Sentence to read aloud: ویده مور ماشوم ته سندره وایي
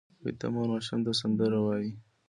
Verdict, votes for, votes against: accepted, 2, 0